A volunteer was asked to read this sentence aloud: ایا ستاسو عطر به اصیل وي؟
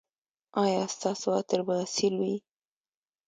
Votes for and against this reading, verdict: 2, 0, accepted